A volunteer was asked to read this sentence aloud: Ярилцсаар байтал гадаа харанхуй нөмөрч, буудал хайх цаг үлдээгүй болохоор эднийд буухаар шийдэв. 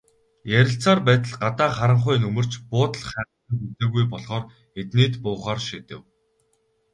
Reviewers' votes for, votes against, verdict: 0, 2, rejected